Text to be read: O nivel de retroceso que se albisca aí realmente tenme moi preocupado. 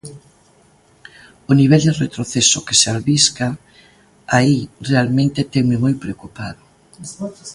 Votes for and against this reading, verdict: 1, 2, rejected